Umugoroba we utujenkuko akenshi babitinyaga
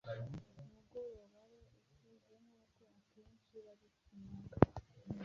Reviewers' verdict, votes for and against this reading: rejected, 1, 2